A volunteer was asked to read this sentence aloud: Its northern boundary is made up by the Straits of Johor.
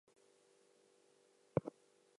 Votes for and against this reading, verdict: 0, 2, rejected